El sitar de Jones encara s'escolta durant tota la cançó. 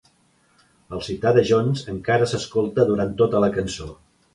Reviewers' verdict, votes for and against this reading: accepted, 2, 0